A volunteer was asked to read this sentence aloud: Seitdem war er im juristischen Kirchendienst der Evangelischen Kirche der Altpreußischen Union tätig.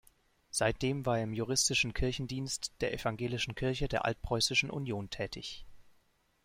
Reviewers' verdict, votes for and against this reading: accepted, 2, 0